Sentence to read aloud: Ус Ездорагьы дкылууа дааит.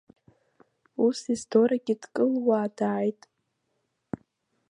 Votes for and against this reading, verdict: 1, 2, rejected